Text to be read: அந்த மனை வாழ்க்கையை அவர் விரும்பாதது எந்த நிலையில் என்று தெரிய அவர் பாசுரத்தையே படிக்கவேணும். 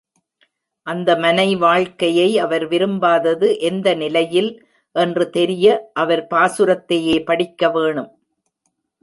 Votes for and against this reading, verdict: 2, 0, accepted